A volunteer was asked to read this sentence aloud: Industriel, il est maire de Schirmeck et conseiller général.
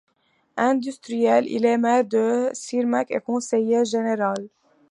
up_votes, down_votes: 2, 1